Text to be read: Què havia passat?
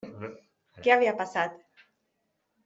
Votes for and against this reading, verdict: 0, 2, rejected